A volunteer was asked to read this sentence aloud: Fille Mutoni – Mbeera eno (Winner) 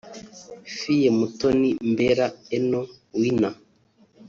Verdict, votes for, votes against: rejected, 1, 2